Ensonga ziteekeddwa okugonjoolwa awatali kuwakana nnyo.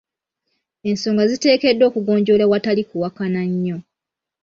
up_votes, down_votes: 2, 1